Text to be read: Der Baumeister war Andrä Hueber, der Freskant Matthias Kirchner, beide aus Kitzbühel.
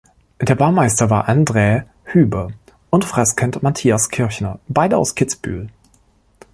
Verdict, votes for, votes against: rejected, 1, 2